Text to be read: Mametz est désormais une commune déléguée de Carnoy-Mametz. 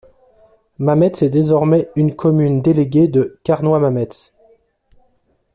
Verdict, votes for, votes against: accepted, 2, 0